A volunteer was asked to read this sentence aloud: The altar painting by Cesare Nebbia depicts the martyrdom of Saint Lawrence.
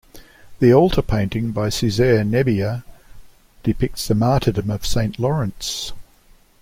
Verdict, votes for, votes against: accepted, 2, 0